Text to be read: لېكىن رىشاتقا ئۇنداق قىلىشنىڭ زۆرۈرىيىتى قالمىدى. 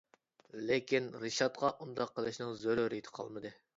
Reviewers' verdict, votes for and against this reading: accepted, 2, 0